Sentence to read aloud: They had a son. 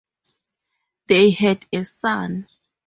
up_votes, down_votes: 2, 2